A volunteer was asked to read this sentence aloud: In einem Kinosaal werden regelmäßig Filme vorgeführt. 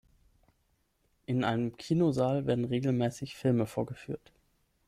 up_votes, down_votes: 6, 0